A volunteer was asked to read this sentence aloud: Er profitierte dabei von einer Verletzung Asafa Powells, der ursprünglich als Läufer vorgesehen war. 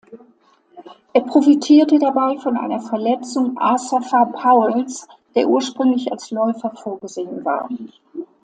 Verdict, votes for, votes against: accepted, 2, 0